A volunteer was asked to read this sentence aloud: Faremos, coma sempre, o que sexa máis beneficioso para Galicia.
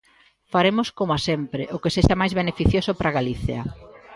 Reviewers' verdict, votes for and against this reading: accepted, 3, 0